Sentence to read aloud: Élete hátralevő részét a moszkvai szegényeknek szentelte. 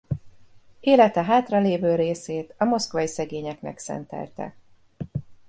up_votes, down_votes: 1, 2